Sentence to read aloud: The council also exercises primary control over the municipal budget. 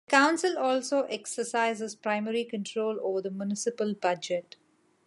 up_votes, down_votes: 2, 0